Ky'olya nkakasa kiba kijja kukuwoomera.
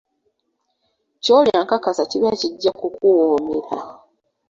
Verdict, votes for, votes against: accepted, 3, 0